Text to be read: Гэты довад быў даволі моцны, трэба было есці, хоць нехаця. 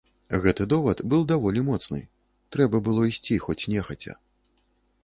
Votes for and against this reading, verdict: 0, 2, rejected